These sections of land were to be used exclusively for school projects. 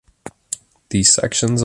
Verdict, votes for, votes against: rejected, 0, 2